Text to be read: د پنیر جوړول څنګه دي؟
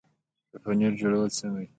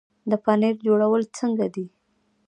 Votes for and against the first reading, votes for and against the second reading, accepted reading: 2, 0, 0, 2, first